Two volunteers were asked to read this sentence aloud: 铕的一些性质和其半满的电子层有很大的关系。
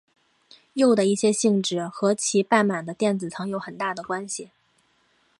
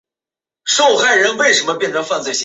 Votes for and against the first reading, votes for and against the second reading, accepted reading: 3, 0, 0, 2, first